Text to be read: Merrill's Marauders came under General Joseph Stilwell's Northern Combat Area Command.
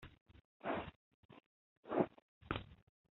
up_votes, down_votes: 0, 2